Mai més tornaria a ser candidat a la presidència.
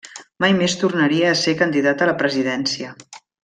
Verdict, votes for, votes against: accepted, 3, 0